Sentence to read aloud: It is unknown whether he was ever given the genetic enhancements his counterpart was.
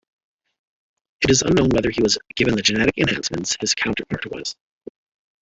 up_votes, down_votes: 0, 2